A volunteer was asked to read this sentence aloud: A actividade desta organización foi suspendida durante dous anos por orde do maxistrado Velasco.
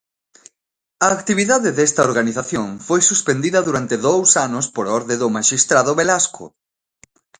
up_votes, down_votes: 4, 1